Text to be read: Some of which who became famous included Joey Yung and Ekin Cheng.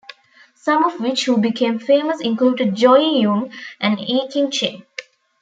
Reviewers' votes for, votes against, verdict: 2, 0, accepted